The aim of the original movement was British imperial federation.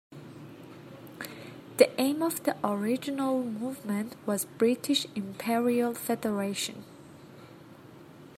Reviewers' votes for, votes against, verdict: 3, 1, accepted